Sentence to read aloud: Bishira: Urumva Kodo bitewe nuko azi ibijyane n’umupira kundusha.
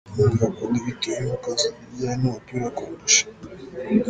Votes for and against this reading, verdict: 1, 3, rejected